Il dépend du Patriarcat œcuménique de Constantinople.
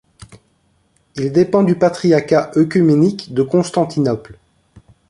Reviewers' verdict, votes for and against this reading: rejected, 1, 2